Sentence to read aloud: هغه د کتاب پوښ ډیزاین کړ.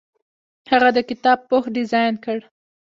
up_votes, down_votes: 2, 0